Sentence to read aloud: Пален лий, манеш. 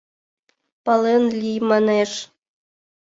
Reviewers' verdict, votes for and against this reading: accepted, 2, 0